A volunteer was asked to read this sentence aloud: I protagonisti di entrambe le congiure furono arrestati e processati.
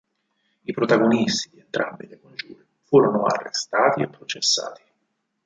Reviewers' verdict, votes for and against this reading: rejected, 2, 4